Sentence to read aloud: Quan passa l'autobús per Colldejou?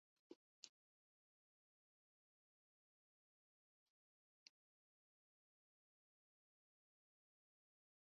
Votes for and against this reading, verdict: 0, 2, rejected